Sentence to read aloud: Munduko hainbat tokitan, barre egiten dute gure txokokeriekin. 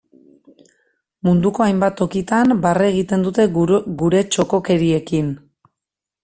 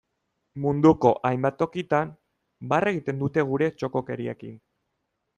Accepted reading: second